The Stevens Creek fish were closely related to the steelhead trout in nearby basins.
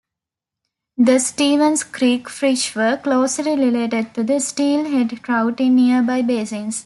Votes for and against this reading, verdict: 2, 0, accepted